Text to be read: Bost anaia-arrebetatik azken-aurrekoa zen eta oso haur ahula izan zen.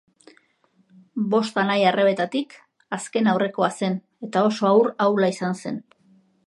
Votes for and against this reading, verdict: 3, 0, accepted